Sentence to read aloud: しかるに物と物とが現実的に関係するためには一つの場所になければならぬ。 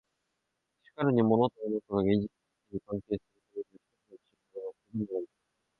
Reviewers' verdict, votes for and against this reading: rejected, 0, 2